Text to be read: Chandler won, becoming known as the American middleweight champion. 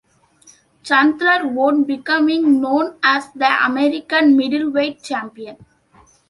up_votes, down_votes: 2, 0